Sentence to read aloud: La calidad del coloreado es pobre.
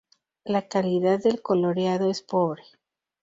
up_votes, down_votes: 2, 0